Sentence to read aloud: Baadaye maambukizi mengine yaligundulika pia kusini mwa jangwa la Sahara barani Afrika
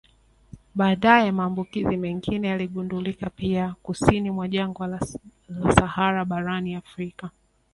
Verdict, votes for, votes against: accepted, 2, 1